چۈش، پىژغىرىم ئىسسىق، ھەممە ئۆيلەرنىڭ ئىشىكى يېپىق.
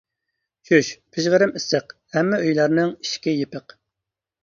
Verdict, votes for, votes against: accepted, 2, 0